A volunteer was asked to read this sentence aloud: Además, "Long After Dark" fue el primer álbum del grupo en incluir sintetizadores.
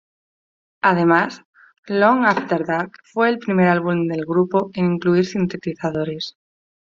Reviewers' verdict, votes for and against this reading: accepted, 2, 0